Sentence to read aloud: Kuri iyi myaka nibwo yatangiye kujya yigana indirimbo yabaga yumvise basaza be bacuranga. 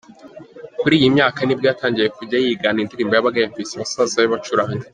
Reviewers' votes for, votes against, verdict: 0, 2, rejected